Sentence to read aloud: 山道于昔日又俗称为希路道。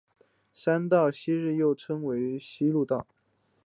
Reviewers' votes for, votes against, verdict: 3, 0, accepted